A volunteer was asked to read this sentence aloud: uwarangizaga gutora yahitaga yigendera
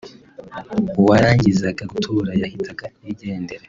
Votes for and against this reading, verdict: 2, 0, accepted